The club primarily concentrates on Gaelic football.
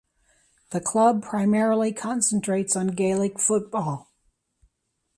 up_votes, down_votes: 2, 0